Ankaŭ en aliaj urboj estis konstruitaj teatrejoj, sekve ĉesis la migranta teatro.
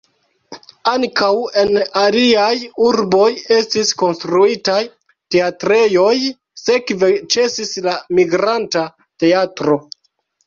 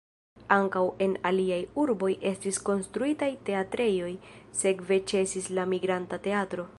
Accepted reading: first